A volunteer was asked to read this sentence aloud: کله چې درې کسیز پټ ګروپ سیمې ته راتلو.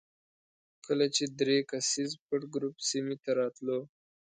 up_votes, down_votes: 2, 0